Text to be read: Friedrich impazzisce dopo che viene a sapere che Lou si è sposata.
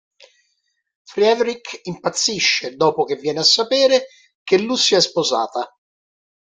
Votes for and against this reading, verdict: 1, 2, rejected